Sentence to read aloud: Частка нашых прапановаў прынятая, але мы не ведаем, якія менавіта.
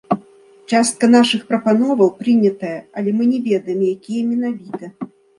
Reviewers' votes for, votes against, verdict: 2, 1, accepted